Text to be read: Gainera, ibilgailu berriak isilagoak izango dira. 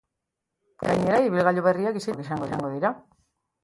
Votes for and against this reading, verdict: 0, 2, rejected